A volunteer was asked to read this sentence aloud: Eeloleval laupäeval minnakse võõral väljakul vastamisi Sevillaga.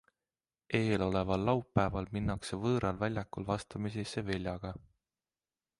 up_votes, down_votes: 2, 0